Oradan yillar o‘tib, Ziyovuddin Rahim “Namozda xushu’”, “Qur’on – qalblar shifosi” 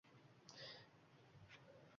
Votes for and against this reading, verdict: 1, 2, rejected